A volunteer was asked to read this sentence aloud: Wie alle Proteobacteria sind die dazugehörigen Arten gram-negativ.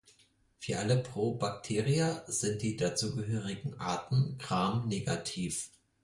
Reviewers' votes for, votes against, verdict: 0, 4, rejected